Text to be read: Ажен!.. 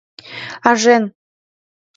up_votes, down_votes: 2, 0